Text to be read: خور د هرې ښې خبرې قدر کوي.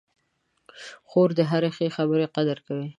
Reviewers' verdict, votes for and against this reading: accepted, 2, 0